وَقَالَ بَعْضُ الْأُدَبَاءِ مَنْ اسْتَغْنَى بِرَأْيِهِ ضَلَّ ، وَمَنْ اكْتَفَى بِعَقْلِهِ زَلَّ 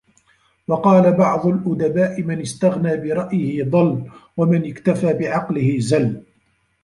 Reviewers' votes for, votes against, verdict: 1, 2, rejected